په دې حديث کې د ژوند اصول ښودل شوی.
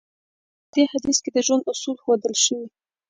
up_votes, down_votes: 2, 0